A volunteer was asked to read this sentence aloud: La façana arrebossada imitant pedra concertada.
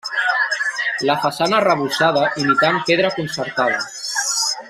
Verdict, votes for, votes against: rejected, 1, 2